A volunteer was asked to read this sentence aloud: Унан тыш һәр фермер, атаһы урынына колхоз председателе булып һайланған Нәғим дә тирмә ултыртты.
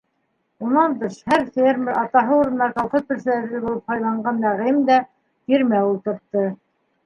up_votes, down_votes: 0, 2